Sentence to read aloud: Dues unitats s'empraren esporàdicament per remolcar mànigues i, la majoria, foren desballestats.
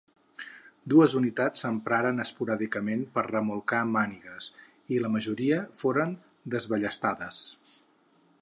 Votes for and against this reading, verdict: 2, 4, rejected